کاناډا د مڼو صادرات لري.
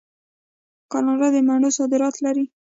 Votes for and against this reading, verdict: 2, 0, accepted